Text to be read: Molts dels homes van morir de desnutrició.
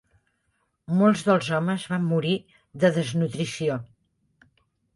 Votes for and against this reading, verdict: 4, 0, accepted